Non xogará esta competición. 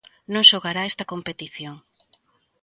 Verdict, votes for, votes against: accepted, 2, 0